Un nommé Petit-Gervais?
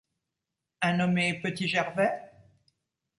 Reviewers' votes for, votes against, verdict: 2, 0, accepted